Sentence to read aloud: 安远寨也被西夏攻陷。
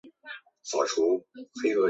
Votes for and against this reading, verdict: 5, 2, accepted